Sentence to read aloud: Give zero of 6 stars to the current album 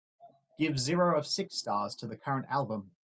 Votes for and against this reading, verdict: 0, 2, rejected